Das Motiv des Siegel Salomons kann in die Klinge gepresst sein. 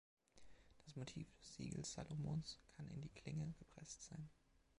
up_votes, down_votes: 2, 3